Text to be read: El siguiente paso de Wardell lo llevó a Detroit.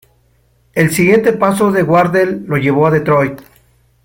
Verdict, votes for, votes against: accepted, 2, 0